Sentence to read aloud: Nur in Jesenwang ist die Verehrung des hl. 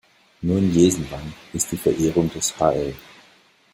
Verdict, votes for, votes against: rejected, 1, 2